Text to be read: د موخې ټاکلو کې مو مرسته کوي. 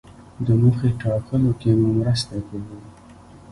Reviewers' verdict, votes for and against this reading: rejected, 0, 2